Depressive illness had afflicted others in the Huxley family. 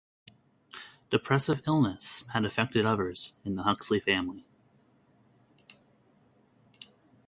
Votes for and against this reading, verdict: 1, 2, rejected